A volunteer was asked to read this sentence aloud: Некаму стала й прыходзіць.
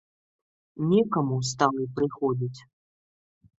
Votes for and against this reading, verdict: 1, 2, rejected